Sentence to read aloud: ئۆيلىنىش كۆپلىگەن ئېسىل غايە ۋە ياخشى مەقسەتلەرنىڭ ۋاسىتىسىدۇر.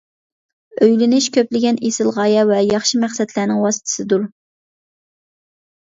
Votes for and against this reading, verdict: 2, 0, accepted